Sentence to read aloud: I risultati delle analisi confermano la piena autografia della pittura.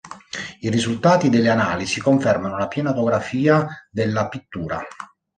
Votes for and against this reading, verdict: 1, 2, rejected